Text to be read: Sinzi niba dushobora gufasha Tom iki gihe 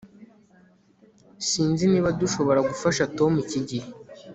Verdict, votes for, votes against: accepted, 2, 0